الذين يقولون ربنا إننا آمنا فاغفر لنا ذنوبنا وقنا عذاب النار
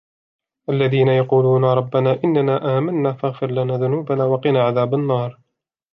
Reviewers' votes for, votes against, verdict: 2, 0, accepted